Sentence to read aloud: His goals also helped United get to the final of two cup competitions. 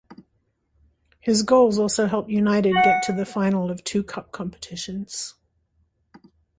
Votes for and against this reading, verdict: 1, 2, rejected